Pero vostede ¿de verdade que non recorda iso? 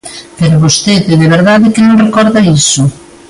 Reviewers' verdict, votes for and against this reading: accepted, 2, 0